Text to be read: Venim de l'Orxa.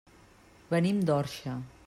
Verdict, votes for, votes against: rejected, 0, 2